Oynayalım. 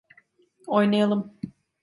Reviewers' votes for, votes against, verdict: 2, 0, accepted